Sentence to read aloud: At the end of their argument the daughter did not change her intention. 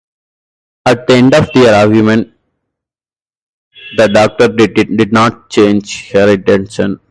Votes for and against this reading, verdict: 2, 2, rejected